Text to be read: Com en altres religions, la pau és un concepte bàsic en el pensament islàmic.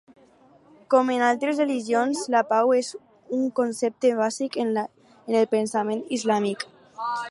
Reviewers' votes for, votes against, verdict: 2, 4, rejected